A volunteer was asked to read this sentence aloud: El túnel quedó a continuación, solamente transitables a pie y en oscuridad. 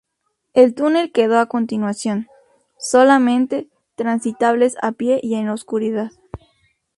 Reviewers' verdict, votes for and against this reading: accepted, 2, 0